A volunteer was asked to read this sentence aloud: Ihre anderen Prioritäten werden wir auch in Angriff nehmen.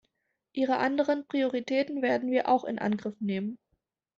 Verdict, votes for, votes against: accepted, 4, 0